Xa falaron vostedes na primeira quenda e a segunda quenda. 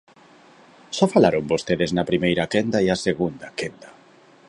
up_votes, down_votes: 2, 0